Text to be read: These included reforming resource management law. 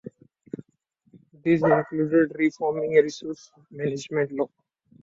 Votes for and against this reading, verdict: 2, 0, accepted